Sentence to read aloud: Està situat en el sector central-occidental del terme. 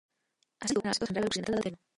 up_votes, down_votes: 0, 2